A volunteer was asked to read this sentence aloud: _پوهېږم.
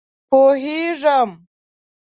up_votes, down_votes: 2, 0